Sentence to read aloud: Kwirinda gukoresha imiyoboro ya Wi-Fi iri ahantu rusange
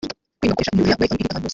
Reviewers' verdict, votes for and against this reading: rejected, 0, 2